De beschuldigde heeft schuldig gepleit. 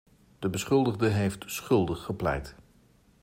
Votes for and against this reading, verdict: 2, 0, accepted